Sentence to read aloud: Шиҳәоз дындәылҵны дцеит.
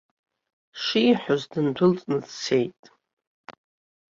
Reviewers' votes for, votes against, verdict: 3, 0, accepted